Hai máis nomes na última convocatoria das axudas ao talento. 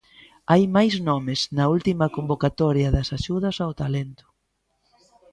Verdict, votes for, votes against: accepted, 2, 1